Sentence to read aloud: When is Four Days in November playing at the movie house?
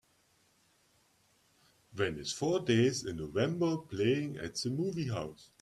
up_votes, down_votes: 2, 0